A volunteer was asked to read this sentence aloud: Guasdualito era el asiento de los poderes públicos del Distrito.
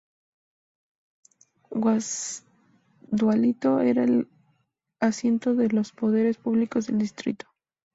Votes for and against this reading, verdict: 2, 0, accepted